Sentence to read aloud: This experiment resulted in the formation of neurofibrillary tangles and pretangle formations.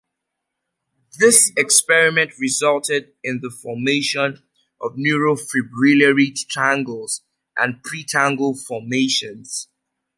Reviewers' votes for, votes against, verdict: 2, 0, accepted